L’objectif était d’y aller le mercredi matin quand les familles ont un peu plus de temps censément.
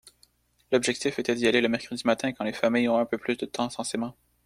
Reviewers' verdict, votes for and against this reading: accepted, 2, 0